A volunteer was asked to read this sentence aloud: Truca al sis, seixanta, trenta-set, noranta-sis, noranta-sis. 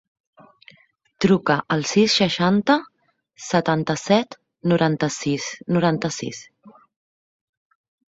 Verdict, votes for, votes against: rejected, 1, 2